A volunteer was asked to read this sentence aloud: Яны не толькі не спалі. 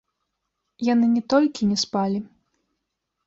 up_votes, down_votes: 0, 2